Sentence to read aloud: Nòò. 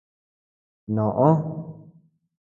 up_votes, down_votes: 2, 1